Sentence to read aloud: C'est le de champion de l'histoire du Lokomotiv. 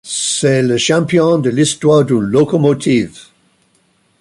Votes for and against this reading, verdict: 0, 2, rejected